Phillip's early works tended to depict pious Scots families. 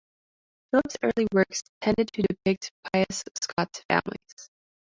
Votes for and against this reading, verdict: 2, 1, accepted